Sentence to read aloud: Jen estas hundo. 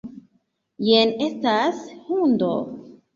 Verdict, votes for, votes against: rejected, 1, 2